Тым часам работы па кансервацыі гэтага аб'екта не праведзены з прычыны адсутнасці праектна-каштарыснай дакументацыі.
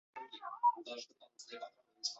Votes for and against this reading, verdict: 1, 2, rejected